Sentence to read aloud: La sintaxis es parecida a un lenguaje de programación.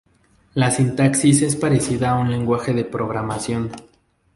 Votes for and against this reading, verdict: 0, 2, rejected